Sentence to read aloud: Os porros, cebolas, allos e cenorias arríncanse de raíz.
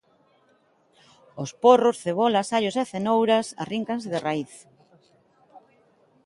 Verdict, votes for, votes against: rejected, 0, 2